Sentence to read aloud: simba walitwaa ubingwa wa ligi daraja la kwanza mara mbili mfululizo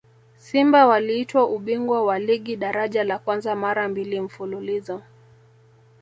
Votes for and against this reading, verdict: 1, 2, rejected